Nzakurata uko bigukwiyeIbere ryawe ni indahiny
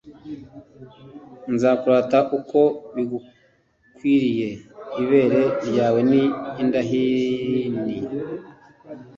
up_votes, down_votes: 0, 2